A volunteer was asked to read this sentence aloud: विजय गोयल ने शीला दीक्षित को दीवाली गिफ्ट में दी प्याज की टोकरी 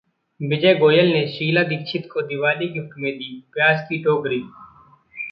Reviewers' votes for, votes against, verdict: 1, 2, rejected